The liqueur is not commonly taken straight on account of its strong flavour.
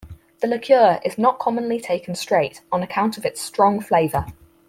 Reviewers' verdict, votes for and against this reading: accepted, 4, 0